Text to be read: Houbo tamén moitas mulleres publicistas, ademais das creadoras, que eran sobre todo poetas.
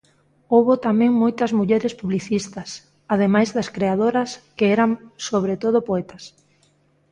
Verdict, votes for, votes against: accepted, 2, 0